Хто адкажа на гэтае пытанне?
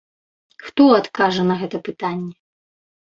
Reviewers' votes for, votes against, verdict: 0, 2, rejected